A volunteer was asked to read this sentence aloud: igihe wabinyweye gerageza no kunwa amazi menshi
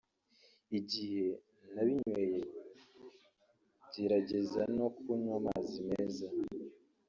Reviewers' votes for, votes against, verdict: 0, 2, rejected